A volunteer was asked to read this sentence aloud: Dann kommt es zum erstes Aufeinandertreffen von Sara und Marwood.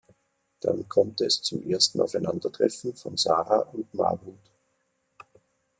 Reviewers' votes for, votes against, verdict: 0, 2, rejected